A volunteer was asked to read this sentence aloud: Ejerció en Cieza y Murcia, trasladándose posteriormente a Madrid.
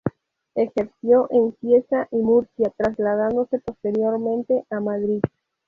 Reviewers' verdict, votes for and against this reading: accepted, 2, 0